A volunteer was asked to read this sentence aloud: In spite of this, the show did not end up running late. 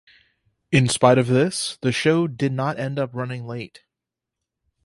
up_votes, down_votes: 4, 0